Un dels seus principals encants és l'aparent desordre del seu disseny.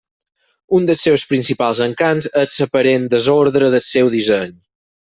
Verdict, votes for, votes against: rejected, 0, 4